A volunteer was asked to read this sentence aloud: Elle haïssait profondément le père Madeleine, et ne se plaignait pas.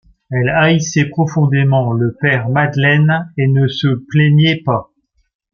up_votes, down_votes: 2, 0